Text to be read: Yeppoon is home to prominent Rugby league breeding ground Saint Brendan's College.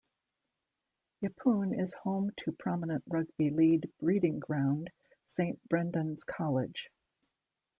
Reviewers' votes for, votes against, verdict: 2, 0, accepted